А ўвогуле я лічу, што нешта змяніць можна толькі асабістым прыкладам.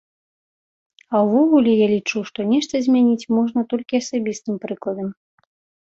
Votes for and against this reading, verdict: 2, 0, accepted